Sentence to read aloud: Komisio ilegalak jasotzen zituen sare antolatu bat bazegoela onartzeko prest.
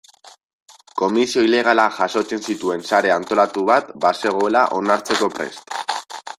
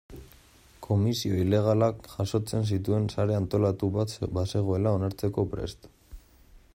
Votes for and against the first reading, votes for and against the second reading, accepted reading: 2, 0, 0, 2, first